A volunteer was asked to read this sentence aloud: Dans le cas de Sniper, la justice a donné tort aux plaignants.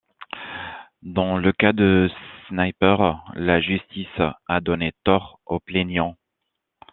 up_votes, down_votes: 2, 0